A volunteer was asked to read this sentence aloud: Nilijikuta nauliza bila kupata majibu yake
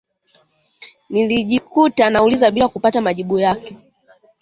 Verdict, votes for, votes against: accepted, 2, 0